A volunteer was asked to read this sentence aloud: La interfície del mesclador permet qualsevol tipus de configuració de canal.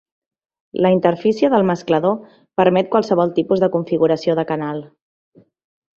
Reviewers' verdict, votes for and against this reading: accepted, 2, 0